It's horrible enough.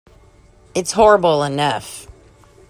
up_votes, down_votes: 2, 0